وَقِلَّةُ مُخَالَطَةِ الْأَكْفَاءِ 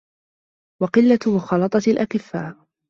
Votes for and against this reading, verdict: 2, 0, accepted